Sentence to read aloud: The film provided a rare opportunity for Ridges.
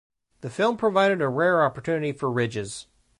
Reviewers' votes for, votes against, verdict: 2, 0, accepted